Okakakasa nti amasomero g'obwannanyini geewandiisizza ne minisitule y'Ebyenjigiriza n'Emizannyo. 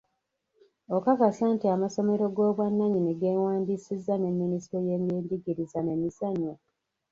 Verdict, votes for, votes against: rejected, 0, 2